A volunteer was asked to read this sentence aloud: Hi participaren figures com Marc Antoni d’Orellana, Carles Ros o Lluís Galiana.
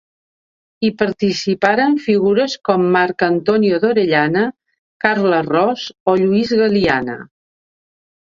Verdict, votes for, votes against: rejected, 1, 2